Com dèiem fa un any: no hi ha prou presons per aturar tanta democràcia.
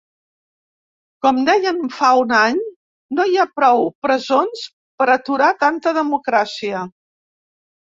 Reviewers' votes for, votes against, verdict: 2, 0, accepted